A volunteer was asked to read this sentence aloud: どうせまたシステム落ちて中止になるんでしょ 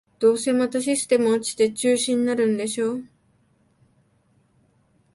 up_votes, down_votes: 2, 0